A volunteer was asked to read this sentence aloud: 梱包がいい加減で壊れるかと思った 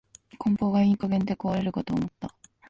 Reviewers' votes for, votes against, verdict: 1, 2, rejected